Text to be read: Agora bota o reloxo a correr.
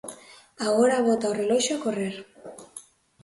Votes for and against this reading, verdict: 2, 0, accepted